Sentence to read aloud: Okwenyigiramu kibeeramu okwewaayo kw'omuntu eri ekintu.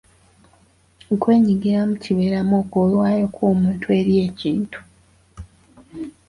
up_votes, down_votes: 2, 0